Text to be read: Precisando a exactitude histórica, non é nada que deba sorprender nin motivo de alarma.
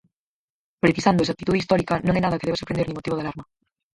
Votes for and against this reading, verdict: 0, 4, rejected